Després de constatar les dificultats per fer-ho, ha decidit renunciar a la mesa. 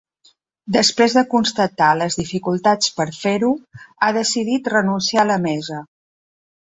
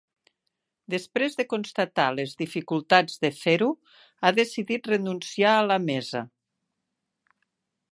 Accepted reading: first